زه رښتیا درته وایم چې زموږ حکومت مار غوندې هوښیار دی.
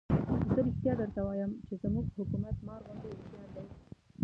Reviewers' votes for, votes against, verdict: 1, 2, rejected